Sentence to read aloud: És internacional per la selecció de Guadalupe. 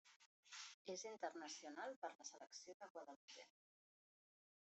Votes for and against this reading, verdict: 0, 2, rejected